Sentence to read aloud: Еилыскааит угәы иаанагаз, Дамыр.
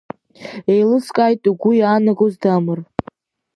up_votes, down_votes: 2, 1